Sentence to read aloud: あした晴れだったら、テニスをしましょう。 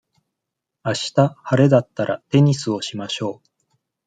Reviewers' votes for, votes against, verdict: 2, 0, accepted